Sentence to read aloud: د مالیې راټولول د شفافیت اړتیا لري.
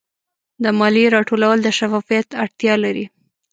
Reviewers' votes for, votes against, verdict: 2, 0, accepted